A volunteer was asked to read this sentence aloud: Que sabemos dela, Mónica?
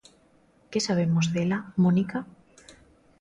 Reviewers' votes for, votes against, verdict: 2, 0, accepted